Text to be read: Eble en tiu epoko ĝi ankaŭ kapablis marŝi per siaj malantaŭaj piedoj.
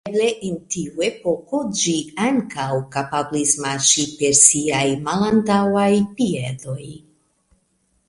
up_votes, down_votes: 0, 2